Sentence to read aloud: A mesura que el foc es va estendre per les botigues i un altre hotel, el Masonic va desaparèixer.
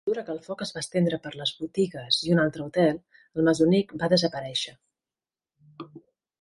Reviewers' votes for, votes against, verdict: 1, 2, rejected